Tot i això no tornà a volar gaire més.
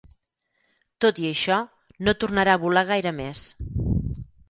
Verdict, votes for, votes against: rejected, 2, 4